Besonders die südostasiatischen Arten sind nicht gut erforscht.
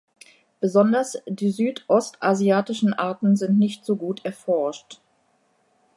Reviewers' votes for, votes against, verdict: 0, 2, rejected